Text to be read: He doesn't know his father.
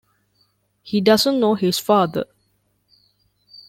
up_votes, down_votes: 2, 1